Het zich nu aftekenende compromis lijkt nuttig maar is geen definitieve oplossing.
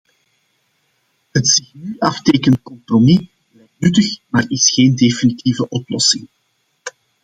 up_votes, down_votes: 0, 2